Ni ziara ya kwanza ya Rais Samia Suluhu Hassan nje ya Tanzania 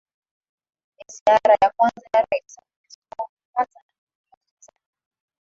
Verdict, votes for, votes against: rejected, 1, 2